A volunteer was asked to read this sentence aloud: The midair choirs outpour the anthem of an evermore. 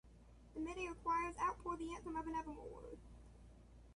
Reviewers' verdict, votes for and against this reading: rejected, 0, 2